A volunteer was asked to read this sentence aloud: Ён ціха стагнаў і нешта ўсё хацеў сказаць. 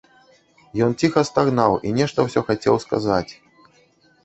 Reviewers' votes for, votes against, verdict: 1, 2, rejected